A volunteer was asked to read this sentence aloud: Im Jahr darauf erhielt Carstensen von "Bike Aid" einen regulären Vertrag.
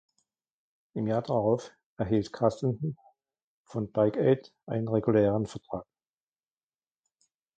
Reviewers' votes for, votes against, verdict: 2, 0, accepted